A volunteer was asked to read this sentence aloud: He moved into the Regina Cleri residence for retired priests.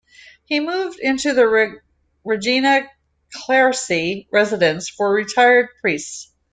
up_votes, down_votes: 0, 2